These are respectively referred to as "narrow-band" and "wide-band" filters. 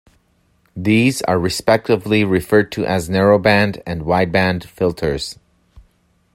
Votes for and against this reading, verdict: 2, 0, accepted